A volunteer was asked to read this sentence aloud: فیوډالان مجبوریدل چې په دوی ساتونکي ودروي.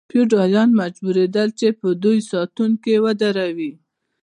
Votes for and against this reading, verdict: 2, 0, accepted